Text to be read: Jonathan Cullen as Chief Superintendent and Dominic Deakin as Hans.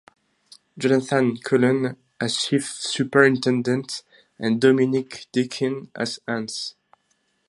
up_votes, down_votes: 0, 2